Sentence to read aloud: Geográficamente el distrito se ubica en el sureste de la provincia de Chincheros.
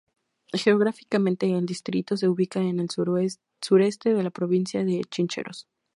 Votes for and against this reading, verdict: 0, 4, rejected